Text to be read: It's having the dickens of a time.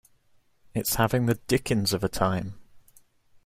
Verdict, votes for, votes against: accepted, 2, 0